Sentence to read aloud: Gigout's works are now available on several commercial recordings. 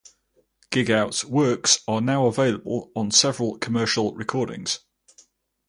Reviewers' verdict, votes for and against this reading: accepted, 4, 0